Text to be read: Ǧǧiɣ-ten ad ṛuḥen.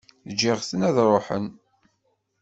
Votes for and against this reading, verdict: 2, 0, accepted